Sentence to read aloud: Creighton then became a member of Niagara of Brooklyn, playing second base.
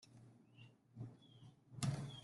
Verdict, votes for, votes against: rejected, 0, 2